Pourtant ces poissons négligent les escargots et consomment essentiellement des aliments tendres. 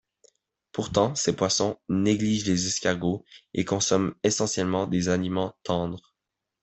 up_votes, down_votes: 2, 0